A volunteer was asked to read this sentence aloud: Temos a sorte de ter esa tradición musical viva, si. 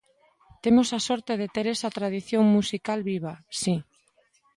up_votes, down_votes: 2, 0